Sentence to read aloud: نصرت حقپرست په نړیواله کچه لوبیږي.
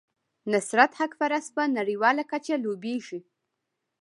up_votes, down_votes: 0, 2